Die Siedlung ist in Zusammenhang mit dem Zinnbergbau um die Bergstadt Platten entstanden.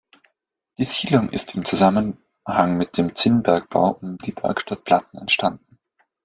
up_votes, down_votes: 2, 1